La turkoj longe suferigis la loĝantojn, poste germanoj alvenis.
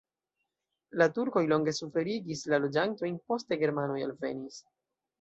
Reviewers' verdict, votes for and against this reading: accepted, 2, 0